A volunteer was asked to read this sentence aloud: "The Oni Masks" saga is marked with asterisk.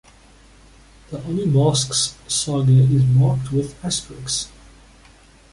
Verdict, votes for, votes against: accepted, 2, 0